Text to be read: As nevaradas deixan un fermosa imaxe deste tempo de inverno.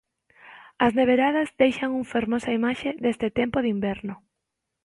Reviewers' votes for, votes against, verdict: 0, 2, rejected